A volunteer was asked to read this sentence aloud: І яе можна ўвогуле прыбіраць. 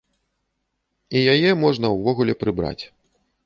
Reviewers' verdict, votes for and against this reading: rejected, 0, 2